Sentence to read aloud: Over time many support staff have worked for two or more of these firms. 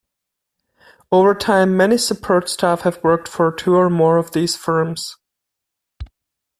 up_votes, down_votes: 2, 0